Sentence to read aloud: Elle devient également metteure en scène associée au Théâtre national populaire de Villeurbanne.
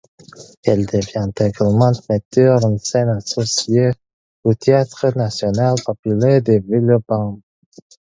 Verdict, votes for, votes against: rejected, 2, 4